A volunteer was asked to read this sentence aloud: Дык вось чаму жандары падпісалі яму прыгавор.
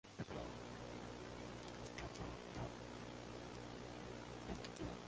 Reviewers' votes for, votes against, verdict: 0, 2, rejected